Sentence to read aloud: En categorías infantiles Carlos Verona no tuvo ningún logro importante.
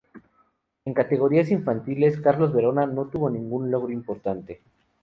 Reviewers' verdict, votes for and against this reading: accepted, 2, 0